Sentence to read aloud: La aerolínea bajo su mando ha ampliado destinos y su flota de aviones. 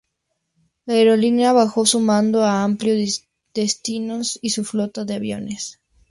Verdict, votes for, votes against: rejected, 0, 2